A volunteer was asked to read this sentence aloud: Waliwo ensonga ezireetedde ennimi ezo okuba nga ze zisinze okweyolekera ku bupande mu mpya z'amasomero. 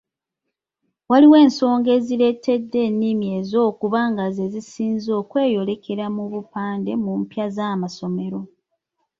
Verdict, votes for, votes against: accepted, 3, 2